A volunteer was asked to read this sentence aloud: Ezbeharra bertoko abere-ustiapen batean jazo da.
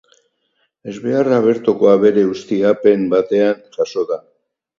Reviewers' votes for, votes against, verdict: 4, 2, accepted